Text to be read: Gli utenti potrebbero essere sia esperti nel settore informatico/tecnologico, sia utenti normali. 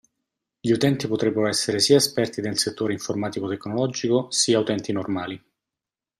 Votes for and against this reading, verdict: 2, 0, accepted